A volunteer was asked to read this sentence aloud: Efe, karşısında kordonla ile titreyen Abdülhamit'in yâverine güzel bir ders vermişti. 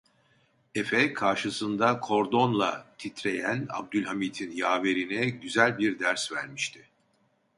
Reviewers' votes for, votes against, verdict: 0, 2, rejected